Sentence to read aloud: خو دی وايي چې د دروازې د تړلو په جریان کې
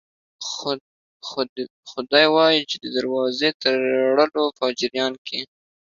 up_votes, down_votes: 0, 4